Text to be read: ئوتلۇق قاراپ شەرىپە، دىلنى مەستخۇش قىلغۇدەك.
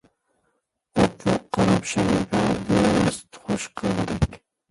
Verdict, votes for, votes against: rejected, 0, 2